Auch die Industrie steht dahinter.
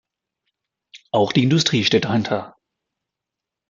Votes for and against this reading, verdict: 2, 0, accepted